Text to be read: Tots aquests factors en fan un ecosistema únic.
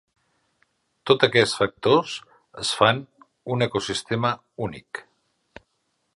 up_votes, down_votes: 0, 2